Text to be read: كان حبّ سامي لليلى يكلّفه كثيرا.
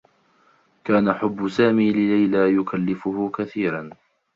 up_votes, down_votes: 2, 0